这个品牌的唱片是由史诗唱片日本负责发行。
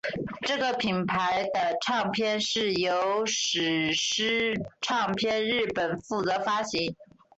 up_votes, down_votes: 4, 0